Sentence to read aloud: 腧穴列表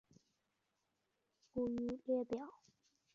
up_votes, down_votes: 1, 2